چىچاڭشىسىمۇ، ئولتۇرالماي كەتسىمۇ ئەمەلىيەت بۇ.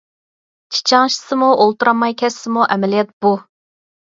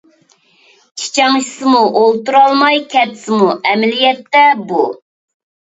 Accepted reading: first